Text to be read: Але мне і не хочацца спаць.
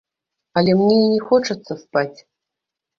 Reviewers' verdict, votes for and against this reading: rejected, 1, 2